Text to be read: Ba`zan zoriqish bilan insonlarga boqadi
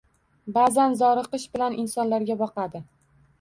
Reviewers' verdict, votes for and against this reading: rejected, 1, 2